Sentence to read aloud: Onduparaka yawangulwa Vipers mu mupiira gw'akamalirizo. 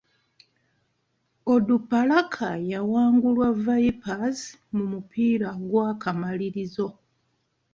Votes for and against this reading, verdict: 2, 0, accepted